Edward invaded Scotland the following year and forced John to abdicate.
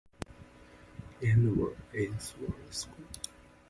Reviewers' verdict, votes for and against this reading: rejected, 0, 4